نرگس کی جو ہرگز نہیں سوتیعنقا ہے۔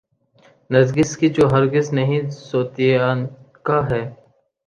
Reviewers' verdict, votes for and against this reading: accepted, 2, 0